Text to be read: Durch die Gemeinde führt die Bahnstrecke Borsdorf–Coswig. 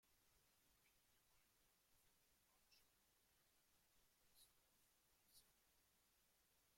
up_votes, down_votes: 0, 2